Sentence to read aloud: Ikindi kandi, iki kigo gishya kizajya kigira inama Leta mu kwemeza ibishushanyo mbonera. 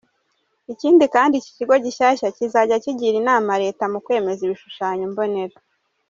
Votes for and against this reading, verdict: 2, 1, accepted